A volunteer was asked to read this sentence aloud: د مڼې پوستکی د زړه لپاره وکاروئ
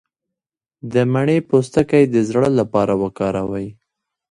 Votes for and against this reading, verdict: 1, 2, rejected